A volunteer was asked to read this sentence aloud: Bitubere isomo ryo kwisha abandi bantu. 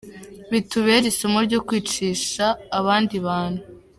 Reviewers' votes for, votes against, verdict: 2, 1, accepted